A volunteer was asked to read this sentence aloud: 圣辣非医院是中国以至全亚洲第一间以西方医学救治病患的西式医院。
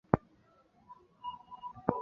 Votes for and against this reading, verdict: 0, 3, rejected